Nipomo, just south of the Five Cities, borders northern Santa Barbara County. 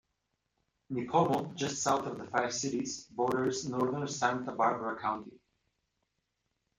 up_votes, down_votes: 0, 2